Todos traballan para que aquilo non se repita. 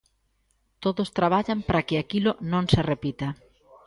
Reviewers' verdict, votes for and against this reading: rejected, 0, 2